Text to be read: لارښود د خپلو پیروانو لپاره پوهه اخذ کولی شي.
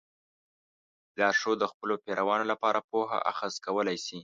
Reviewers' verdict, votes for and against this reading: accepted, 2, 0